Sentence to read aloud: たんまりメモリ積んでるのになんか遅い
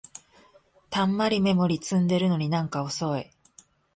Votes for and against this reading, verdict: 2, 0, accepted